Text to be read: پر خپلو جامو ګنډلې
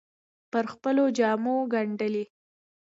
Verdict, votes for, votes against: accepted, 2, 0